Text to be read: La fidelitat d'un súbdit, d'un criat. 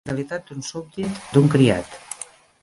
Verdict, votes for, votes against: rejected, 0, 2